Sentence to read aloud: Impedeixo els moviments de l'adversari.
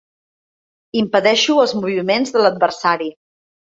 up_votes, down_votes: 4, 0